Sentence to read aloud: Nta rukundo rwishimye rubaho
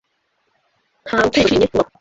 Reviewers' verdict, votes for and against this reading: rejected, 0, 2